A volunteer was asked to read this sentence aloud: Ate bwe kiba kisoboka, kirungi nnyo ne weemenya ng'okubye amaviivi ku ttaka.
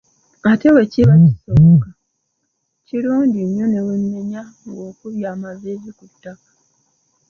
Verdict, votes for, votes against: accepted, 2, 0